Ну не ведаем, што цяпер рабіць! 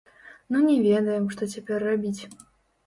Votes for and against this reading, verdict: 0, 2, rejected